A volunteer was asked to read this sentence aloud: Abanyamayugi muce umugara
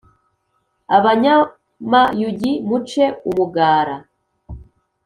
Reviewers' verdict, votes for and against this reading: accepted, 2, 0